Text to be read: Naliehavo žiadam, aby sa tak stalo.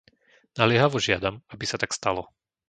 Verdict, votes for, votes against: accepted, 2, 0